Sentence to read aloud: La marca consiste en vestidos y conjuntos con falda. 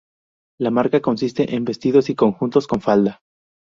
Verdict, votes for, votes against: accepted, 4, 0